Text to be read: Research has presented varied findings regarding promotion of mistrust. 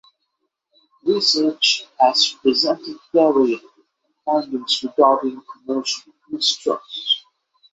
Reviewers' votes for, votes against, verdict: 3, 6, rejected